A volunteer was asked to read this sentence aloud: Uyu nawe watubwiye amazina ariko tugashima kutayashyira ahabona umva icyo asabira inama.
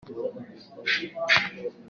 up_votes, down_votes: 0, 2